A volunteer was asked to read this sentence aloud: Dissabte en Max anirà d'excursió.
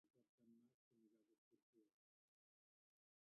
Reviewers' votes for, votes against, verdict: 0, 2, rejected